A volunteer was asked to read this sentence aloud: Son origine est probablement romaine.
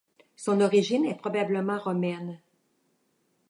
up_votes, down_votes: 2, 0